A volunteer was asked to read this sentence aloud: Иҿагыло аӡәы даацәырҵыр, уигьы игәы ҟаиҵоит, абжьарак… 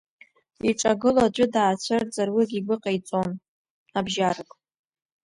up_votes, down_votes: 2, 0